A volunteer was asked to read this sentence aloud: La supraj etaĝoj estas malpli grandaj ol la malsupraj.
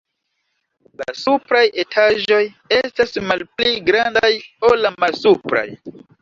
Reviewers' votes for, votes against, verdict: 1, 2, rejected